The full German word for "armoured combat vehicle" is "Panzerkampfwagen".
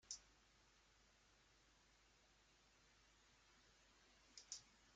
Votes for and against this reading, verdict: 0, 2, rejected